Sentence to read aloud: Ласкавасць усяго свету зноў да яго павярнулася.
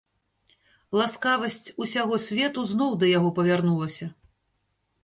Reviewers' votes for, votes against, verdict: 3, 0, accepted